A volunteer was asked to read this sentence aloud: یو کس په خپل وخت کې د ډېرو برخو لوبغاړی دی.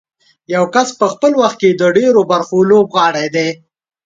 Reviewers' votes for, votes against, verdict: 5, 0, accepted